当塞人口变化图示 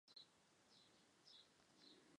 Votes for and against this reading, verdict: 0, 3, rejected